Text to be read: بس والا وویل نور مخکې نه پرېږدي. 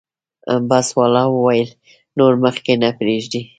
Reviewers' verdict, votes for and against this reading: accepted, 2, 0